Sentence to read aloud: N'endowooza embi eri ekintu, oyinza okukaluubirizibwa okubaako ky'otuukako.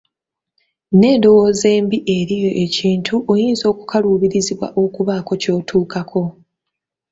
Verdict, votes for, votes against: accepted, 2, 0